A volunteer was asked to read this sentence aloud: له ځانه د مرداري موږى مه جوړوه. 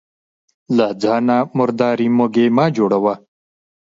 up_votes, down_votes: 0, 2